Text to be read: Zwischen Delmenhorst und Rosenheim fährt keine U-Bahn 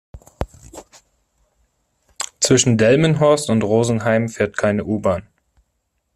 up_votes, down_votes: 2, 0